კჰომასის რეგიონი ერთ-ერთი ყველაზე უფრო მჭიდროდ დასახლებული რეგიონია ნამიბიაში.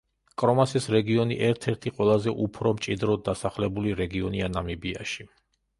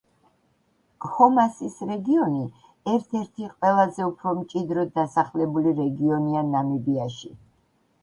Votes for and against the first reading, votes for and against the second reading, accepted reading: 1, 2, 2, 0, second